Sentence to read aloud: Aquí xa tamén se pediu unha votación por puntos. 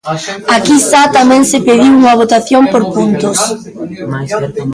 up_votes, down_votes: 0, 2